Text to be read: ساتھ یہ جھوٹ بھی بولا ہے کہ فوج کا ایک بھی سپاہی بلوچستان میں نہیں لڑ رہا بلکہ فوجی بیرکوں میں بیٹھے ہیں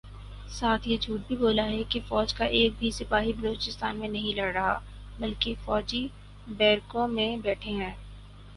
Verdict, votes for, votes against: rejected, 2, 2